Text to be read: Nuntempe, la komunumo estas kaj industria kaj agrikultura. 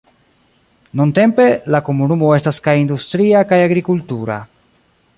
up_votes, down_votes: 1, 2